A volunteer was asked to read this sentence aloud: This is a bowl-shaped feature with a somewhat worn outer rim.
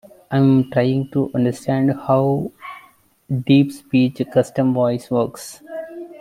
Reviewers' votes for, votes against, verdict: 0, 2, rejected